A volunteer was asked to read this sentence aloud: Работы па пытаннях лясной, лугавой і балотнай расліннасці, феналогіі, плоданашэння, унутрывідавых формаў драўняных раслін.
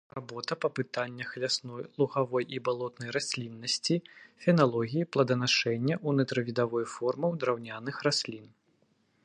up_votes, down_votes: 1, 2